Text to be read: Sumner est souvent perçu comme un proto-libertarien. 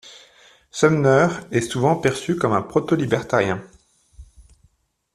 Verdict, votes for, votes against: accepted, 2, 0